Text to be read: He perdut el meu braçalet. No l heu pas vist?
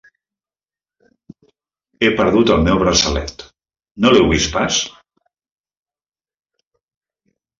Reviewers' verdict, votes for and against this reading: rejected, 0, 2